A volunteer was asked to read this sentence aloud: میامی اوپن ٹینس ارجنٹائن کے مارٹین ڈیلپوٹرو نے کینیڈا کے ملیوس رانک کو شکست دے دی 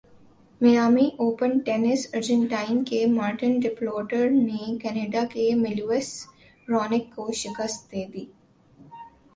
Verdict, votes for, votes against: accepted, 2, 0